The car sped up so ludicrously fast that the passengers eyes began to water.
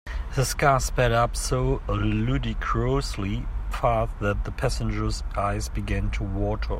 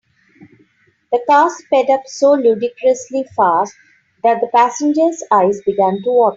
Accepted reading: second